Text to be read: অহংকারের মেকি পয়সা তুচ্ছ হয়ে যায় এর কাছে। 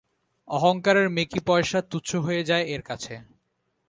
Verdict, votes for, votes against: accepted, 2, 0